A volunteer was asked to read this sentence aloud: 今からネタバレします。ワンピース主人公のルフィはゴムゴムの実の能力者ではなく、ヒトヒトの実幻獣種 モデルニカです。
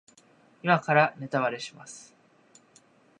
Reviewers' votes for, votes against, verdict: 1, 2, rejected